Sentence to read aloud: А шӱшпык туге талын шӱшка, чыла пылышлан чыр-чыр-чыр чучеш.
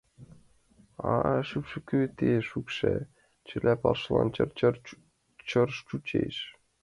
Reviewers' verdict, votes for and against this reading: rejected, 0, 2